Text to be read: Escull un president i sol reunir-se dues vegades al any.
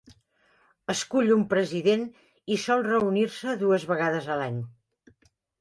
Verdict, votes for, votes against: accepted, 2, 0